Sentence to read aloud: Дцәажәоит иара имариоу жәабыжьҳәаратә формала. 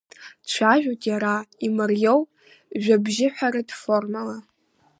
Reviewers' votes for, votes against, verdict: 1, 2, rejected